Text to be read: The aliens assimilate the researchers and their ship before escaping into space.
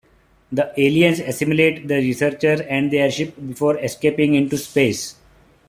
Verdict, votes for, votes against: accepted, 2, 1